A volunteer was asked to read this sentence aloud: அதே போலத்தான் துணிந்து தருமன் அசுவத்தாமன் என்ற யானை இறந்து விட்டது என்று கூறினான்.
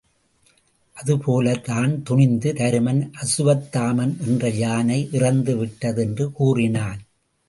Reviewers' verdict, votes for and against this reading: rejected, 0, 2